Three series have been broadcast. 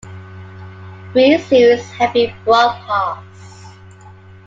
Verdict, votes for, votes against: accepted, 2, 1